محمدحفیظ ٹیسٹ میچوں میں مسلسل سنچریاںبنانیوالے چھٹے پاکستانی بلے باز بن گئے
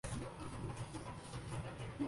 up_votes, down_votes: 0, 2